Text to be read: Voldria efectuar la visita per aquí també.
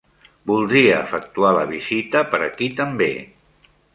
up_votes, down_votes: 2, 0